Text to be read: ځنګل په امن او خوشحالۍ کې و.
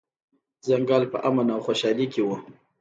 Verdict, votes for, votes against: rejected, 1, 2